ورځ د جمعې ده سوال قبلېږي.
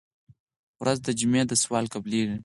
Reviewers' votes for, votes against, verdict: 4, 0, accepted